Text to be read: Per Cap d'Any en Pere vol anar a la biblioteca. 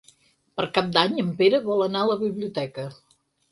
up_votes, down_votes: 6, 0